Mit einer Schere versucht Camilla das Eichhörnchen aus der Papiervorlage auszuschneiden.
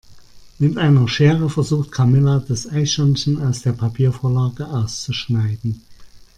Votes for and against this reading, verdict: 2, 1, accepted